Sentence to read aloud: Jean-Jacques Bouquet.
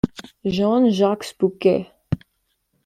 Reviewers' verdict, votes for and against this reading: accepted, 2, 0